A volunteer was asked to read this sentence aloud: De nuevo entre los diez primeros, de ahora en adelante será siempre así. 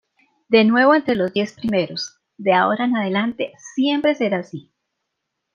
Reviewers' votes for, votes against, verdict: 1, 3, rejected